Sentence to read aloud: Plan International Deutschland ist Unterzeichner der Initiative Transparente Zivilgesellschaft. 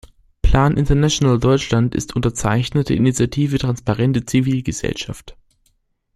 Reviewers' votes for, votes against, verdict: 1, 2, rejected